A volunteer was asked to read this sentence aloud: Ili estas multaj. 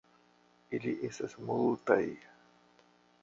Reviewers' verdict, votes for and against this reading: accepted, 2, 0